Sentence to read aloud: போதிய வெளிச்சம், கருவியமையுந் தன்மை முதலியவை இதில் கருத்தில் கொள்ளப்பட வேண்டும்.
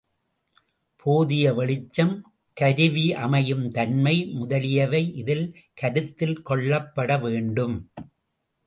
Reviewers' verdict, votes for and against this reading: accepted, 2, 0